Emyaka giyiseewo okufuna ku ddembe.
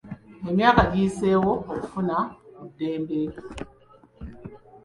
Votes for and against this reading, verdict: 2, 0, accepted